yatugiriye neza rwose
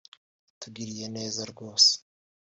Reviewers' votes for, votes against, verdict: 0, 2, rejected